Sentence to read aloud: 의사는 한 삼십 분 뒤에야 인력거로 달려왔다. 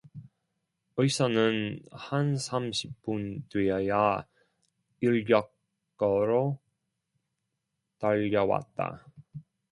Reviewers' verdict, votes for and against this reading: rejected, 0, 2